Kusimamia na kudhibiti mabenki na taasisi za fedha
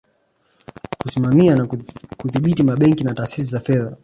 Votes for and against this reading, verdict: 1, 2, rejected